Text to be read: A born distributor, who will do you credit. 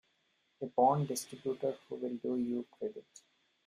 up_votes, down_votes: 0, 2